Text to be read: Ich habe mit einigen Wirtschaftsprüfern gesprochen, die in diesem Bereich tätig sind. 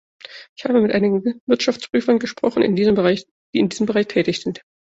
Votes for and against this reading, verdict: 0, 2, rejected